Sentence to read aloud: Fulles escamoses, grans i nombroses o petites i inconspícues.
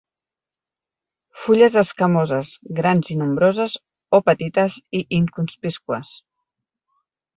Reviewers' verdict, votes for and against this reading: rejected, 1, 2